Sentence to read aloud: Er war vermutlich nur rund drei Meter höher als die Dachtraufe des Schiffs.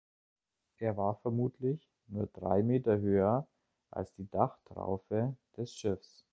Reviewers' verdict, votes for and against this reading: rejected, 1, 2